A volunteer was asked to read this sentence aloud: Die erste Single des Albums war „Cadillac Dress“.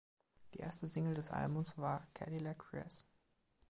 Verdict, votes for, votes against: accepted, 2, 0